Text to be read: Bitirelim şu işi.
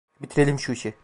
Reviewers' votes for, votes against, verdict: 2, 0, accepted